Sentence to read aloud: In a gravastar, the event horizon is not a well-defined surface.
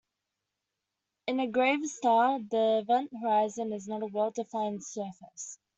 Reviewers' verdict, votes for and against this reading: accepted, 2, 1